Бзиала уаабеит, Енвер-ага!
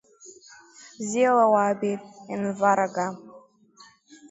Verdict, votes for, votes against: rejected, 0, 2